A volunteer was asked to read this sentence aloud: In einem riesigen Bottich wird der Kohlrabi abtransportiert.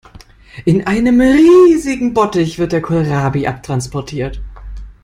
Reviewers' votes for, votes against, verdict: 2, 0, accepted